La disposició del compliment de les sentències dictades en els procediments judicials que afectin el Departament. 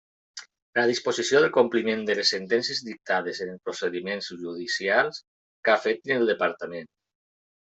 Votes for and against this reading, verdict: 1, 2, rejected